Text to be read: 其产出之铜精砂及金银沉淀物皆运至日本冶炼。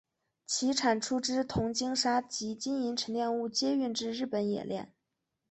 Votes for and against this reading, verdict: 3, 0, accepted